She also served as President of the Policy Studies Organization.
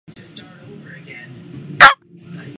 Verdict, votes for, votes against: rejected, 0, 2